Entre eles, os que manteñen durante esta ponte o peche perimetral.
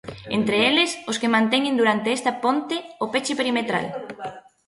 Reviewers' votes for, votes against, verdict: 1, 2, rejected